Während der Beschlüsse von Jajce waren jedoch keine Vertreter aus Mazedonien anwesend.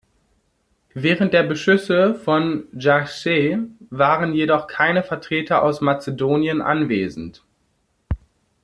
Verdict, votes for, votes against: rejected, 0, 2